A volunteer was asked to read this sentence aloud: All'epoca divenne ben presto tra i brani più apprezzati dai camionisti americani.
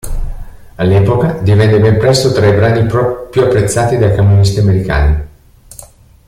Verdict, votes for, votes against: rejected, 0, 2